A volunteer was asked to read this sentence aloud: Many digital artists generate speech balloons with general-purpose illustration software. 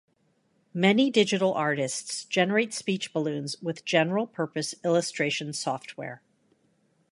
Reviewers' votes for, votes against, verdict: 2, 0, accepted